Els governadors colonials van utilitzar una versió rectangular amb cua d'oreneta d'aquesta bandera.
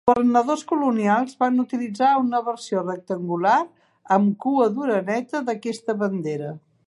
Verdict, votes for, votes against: accepted, 2, 1